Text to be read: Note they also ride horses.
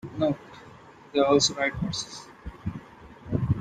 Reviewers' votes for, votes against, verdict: 0, 2, rejected